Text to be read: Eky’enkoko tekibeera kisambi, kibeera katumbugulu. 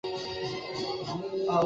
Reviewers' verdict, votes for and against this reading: rejected, 0, 2